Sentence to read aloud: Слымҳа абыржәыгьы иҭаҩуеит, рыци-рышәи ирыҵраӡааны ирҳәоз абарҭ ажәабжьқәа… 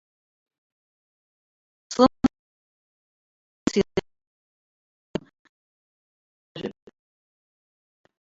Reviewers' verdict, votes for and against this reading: rejected, 0, 2